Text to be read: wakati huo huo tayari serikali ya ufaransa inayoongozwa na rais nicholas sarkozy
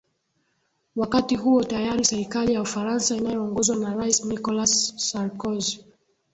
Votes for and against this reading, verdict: 1, 2, rejected